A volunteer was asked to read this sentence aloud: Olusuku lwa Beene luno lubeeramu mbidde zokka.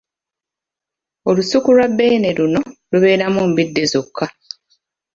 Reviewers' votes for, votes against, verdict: 2, 0, accepted